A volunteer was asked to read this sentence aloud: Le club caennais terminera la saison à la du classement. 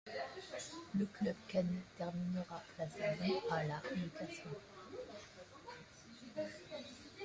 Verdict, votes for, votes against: rejected, 0, 2